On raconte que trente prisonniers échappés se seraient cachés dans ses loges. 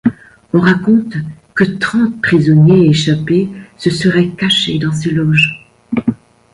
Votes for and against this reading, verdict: 2, 0, accepted